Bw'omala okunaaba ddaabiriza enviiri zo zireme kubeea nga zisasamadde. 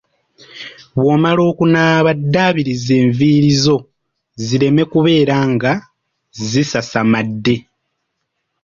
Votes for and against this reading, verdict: 2, 1, accepted